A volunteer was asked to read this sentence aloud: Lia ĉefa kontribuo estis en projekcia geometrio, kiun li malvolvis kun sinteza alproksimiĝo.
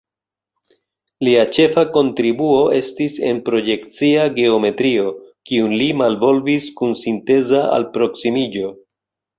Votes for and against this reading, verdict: 2, 0, accepted